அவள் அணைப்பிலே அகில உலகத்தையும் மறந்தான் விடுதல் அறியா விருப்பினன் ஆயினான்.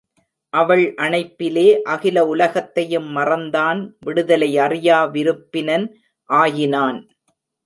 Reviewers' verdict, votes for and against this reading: rejected, 1, 2